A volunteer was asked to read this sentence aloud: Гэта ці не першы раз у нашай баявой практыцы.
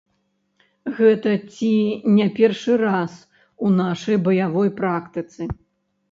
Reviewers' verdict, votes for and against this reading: rejected, 1, 2